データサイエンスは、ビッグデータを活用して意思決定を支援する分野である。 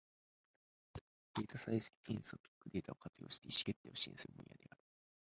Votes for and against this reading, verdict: 0, 2, rejected